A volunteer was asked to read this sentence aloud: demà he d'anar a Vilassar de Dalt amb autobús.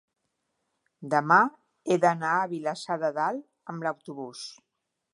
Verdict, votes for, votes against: rejected, 0, 2